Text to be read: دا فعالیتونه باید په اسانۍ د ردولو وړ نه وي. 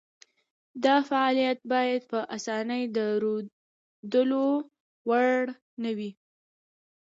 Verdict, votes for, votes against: accepted, 2, 1